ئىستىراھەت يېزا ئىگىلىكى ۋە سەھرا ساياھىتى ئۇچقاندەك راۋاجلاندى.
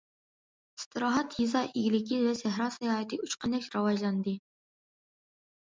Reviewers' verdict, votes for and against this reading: accepted, 2, 0